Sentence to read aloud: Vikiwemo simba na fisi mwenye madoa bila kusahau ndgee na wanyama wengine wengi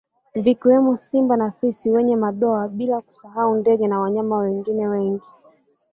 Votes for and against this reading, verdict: 3, 1, accepted